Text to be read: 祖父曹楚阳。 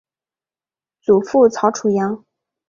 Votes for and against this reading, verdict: 3, 0, accepted